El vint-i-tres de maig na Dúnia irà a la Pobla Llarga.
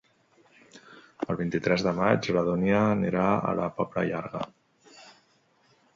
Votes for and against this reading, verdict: 1, 2, rejected